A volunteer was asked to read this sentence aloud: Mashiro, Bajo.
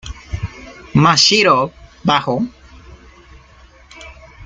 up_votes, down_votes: 2, 0